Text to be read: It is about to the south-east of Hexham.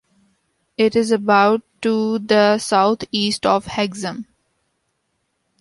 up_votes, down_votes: 0, 2